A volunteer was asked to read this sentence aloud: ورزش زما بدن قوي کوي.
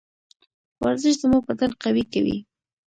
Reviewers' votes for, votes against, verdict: 2, 0, accepted